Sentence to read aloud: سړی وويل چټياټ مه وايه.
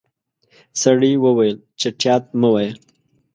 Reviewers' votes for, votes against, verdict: 2, 0, accepted